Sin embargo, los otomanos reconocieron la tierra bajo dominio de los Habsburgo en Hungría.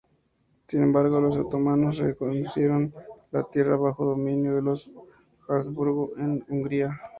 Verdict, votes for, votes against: rejected, 0, 2